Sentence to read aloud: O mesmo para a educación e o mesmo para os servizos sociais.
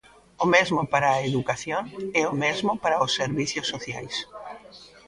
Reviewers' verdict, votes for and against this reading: accepted, 3, 2